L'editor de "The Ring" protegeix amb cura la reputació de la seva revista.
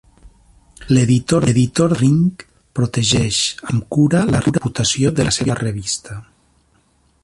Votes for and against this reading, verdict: 0, 2, rejected